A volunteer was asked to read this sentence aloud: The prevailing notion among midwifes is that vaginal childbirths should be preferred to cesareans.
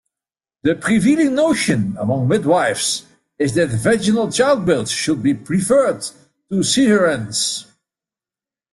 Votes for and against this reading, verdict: 1, 2, rejected